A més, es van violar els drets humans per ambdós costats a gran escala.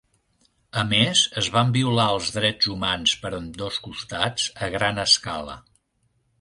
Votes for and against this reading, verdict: 2, 0, accepted